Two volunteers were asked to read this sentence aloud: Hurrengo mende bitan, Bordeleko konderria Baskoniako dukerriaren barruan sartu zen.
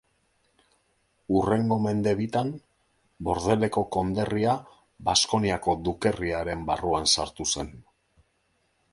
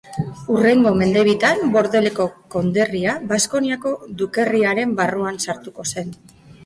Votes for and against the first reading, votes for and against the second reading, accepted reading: 2, 0, 0, 2, first